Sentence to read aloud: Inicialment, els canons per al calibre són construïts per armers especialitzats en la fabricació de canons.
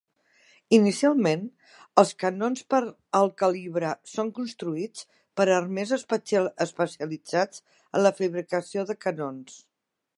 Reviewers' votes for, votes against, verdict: 0, 2, rejected